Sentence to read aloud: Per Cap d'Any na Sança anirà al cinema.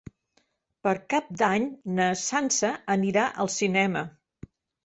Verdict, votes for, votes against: accepted, 3, 0